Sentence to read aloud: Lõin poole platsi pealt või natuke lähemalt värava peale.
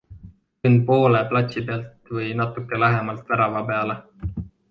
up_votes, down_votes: 3, 1